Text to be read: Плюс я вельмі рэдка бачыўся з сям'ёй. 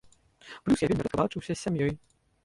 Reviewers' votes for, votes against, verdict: 0, 3, rejected